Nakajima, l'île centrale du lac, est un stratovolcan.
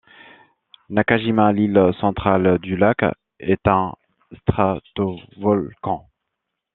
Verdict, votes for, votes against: rejected, 0, 2